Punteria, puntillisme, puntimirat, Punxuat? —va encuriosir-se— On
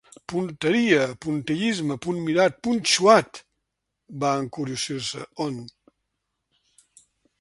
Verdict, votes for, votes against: rejected, 1, 2